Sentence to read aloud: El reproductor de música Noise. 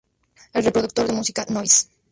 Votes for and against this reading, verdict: 0, 2, rejected